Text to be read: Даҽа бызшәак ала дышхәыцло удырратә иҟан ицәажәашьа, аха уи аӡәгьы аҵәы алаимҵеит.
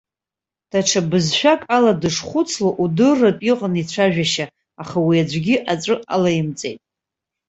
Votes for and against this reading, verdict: 2, 0, accepted